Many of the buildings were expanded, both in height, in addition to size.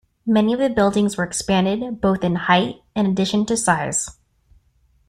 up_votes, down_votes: 2, 0